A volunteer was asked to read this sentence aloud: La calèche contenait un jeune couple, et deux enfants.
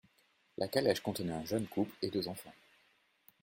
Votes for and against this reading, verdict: 2, 0, accepted